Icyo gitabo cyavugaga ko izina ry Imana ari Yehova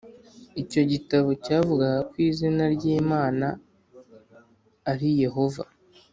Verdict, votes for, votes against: accepted, 2, 0